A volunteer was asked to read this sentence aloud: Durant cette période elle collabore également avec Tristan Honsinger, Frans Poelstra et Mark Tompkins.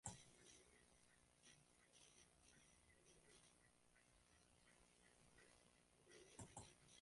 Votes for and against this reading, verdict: 1, 2, rejected